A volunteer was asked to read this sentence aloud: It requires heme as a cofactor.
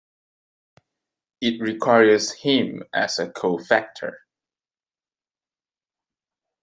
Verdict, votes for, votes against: accepted, 2, 0